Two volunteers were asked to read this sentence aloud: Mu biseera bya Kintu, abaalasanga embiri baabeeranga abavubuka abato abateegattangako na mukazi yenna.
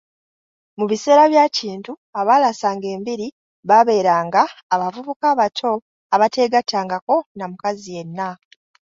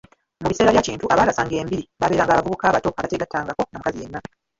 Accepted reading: first